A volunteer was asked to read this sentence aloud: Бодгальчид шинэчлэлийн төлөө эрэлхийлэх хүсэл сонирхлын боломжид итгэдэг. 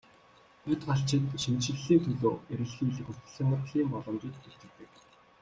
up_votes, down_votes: 2, 0